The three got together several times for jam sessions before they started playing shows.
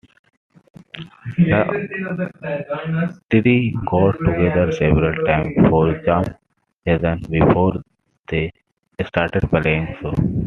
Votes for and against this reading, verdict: 0, 2, rejected